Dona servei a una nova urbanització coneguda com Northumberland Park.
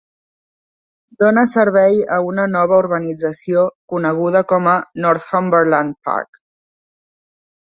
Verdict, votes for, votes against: rejected, 1, 2